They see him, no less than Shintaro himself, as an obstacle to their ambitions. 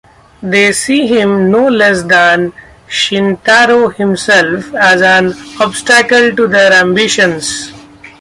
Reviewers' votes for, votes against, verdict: 2, 0, accepted